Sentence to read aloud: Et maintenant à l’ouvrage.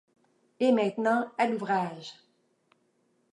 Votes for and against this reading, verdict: 2, 0, accepted